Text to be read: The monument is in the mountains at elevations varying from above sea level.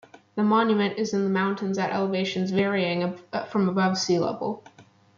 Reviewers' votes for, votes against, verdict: 2, 0, accepted